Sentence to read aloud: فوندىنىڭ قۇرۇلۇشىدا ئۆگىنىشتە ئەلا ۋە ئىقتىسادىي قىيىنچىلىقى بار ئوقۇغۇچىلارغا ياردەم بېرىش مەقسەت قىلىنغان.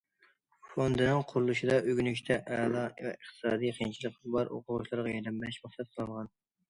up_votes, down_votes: 1, 2